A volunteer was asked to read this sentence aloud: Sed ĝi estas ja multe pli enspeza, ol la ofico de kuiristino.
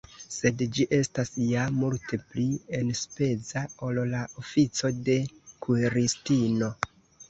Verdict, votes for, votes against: rejected, 0, 2